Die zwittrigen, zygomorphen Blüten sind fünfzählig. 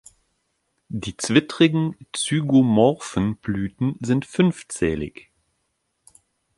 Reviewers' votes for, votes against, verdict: 2, 0, accepted